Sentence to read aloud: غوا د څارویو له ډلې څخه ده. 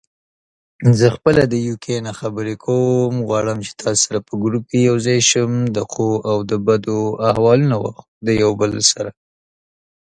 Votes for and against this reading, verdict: 0, 2, rejected